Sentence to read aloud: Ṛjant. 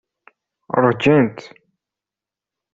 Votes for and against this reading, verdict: 1, 2, rejected